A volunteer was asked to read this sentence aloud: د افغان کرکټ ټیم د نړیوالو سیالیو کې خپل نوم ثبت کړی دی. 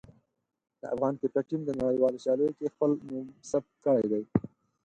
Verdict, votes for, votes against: rejected, 2, 4